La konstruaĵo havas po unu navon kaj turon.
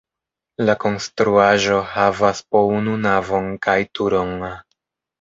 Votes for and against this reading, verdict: 1, 2, rejected